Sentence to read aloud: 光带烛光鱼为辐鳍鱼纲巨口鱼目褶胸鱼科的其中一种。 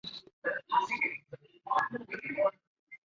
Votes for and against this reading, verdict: 0, 5, rejected